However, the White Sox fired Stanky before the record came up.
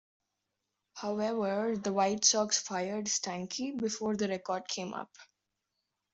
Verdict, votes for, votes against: accepted, 2, 0